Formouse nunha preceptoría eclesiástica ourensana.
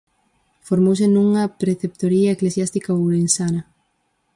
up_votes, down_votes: 4, 0